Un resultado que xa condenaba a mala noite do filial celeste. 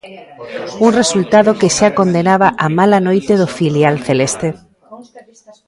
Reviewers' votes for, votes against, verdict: 1, 2, rejected